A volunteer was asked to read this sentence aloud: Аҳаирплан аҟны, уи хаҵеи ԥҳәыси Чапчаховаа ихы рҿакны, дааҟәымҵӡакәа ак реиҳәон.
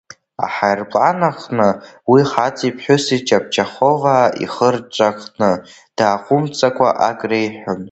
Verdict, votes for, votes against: rejected, 1, 2